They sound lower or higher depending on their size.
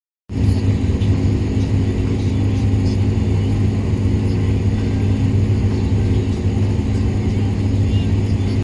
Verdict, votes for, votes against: rejected, 0, 2